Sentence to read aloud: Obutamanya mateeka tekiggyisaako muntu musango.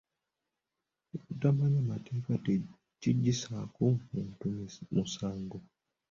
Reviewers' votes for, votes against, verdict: 2, 0, accepted